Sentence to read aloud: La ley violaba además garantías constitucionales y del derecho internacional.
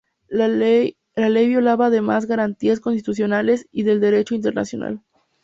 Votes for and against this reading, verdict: 0, 2, rejected